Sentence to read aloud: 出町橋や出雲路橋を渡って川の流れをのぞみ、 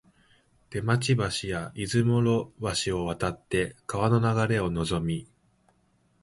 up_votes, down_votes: 1, 2